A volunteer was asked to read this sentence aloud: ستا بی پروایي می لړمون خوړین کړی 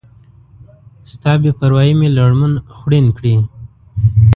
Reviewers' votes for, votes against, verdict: 0, 2, rejected